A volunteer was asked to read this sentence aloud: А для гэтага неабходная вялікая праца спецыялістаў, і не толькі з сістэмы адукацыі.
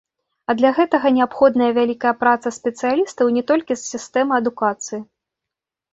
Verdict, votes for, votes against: rejected, 0, 2